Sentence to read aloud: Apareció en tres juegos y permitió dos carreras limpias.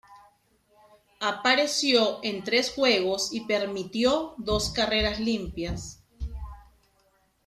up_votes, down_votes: 2, 0